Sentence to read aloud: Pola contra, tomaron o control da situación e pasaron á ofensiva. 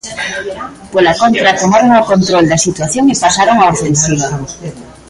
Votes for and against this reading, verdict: 1, 2, rejected